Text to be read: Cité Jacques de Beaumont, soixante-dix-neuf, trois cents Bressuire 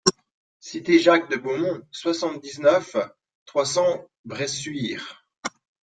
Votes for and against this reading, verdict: 1, 2, rejected